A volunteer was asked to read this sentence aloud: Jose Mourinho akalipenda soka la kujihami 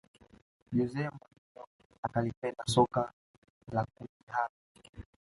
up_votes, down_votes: 0, 2